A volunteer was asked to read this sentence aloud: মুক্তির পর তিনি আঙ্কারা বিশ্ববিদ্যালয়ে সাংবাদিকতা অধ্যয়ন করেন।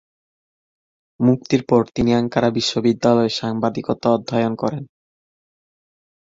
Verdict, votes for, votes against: accepted, 17, 1